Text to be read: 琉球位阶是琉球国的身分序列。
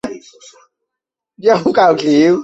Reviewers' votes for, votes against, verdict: 0, 5, rejected